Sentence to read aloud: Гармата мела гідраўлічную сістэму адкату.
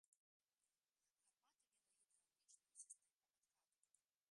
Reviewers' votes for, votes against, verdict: 0, 2, rejected